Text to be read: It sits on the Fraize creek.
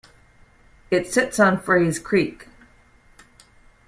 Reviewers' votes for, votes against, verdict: 1, 2, rejected